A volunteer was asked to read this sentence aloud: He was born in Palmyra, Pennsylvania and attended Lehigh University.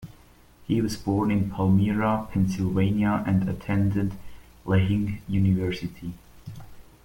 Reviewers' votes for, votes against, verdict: 0, 2, rejected